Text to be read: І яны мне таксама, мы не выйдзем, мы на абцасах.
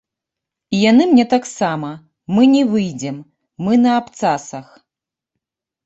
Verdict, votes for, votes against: rejected, 0, 2